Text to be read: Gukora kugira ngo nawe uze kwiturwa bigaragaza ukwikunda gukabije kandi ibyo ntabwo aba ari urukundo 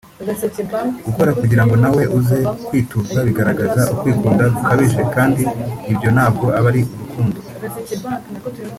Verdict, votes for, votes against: rejected, 1, 2